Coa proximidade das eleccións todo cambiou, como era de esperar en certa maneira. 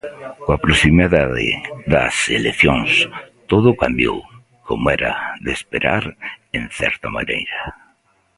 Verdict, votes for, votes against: rejected, 1, 2